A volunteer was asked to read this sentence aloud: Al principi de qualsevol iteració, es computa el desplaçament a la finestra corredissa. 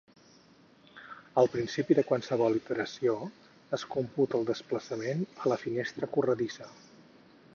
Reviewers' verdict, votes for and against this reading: rejected, 2, 4